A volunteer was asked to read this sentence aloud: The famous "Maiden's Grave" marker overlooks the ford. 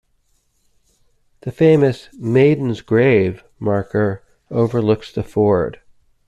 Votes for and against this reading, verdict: 2, 0, accepted